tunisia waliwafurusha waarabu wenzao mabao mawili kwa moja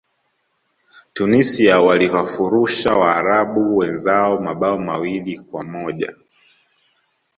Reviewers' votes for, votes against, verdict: 0, 2, rejected